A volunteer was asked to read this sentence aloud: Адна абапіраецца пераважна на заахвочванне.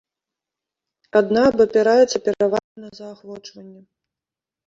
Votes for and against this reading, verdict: 0, 2, rejected